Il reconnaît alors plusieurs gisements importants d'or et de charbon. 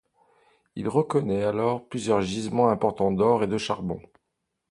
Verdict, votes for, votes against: accepted, 2, 0